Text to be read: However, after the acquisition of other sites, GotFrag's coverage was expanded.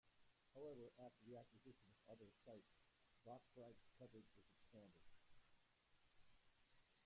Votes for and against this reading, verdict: 0, 2, rejected